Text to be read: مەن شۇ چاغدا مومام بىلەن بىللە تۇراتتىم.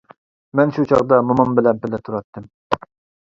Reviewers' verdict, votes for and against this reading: accepted, 2, 0